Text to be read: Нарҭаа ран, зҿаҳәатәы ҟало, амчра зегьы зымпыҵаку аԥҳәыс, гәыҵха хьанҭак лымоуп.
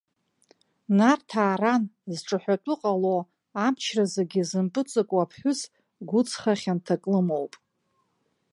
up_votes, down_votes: 2, 0